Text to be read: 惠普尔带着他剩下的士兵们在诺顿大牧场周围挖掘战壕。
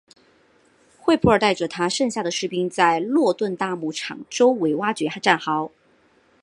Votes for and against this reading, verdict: 3, 0, accepted